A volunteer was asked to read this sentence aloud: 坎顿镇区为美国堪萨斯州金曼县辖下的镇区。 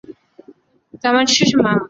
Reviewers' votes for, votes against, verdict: 0, 3, rejected